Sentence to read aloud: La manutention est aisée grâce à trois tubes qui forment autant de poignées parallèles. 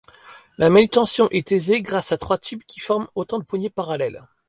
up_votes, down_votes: 2, 0